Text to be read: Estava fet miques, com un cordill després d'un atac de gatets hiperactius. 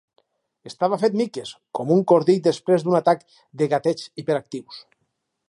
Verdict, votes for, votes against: accepted, 4, 0